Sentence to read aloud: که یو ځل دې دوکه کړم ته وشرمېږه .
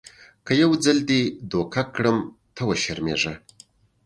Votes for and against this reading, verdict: 2, 0, accepted